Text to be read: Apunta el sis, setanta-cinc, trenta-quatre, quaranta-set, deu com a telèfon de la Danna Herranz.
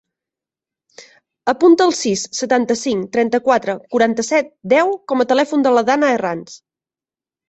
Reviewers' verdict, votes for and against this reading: accepted, 2, 0